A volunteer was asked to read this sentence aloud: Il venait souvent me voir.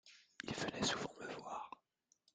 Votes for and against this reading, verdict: 2, 0, accepted